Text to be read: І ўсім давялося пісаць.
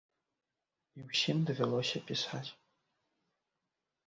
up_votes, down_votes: 2, 0